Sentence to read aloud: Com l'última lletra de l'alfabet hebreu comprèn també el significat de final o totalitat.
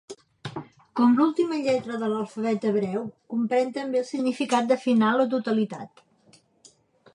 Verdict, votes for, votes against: accepted, 2, 0